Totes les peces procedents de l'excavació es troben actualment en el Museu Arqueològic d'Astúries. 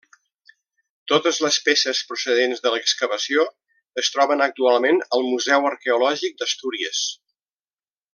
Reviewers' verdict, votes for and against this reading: rejected, 1, 2